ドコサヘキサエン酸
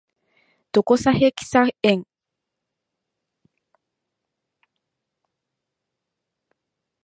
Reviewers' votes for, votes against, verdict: 0, 2, rejected